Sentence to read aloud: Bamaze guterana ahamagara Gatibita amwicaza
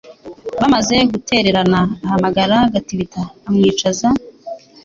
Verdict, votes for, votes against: accepted, 3, 0